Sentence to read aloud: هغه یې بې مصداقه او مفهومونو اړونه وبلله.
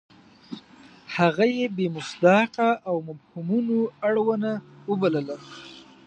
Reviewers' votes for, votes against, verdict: 1, 2, rejected